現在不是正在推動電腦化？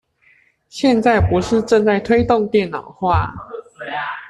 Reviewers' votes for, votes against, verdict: 2, 0, accepted